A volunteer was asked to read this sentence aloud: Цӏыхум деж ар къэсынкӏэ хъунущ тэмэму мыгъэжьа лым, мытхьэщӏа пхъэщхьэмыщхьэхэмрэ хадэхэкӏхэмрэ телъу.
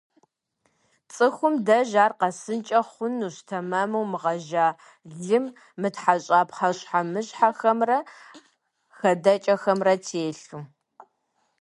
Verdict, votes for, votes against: rejected, 1, 2